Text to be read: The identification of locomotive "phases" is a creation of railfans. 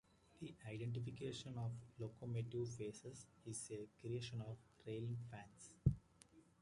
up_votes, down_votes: 1, 2